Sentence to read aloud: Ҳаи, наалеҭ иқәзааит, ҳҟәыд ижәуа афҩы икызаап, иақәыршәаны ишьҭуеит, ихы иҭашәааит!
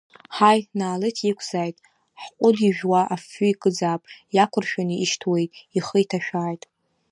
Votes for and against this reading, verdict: 2, 0, accepted